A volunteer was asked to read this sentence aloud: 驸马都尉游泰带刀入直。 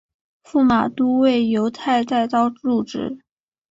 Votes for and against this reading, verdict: 3, 0, accepted